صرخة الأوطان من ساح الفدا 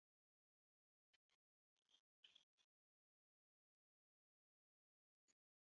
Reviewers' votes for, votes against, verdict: 0, 2, rejected